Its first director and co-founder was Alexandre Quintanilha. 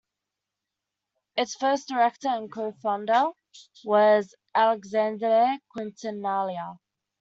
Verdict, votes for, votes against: rejected, 1, 2